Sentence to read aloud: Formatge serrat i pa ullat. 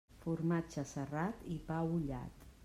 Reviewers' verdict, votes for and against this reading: accepted, 3, 0